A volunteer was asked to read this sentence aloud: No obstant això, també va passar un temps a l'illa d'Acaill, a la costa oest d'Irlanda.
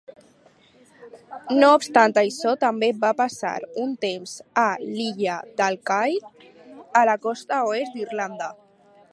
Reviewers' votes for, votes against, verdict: 4, 0, accepted